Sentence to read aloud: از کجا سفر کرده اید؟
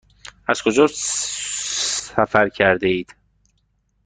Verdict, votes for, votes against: accepted, 2, 1